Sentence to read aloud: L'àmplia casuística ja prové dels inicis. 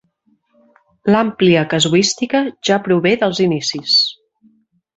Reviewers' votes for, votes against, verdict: 4, 0, accepted